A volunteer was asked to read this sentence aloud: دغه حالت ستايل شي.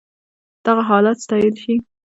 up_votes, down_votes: 0, 2